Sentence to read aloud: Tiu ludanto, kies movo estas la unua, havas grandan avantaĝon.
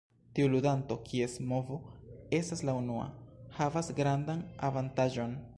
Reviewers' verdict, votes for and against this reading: rejected, 1, 2